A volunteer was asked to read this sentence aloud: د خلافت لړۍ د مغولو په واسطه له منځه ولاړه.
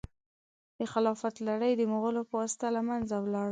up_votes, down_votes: 1, 2